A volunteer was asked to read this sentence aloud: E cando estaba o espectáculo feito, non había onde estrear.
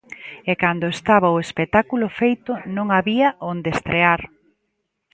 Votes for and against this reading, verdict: 2, 0, accepted